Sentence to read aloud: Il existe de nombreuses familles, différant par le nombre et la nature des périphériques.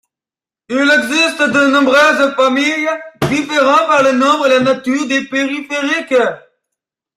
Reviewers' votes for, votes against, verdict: 2, 1, accepted